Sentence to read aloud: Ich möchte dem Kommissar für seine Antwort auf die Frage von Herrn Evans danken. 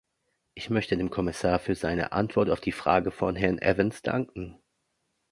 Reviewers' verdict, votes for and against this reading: accepted, 2, 0